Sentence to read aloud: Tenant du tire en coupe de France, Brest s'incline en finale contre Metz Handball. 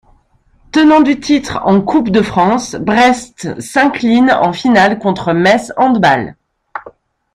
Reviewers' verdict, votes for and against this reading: accepted, 2, 0